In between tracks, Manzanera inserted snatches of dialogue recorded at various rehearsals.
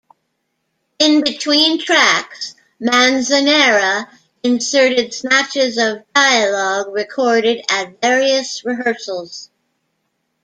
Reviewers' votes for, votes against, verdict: 2, 0, accepted